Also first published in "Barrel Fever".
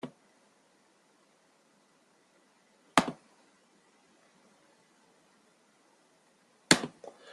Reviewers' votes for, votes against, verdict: 0, 2, rejected